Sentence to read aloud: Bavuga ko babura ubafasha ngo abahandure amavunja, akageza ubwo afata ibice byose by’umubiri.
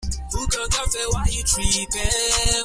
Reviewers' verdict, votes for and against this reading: rejected, 0, 2